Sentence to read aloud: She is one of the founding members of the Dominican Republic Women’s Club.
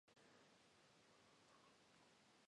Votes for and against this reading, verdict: 0, 2, rejected